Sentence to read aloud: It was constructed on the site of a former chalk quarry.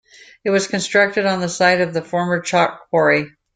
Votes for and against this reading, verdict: 1, 2, rejected